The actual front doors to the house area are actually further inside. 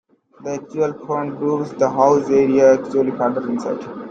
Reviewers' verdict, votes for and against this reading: rejected, 0, 2